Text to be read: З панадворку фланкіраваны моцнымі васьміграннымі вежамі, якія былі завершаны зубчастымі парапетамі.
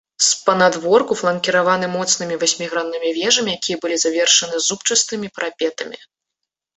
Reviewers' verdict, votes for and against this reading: rejected, 1, 2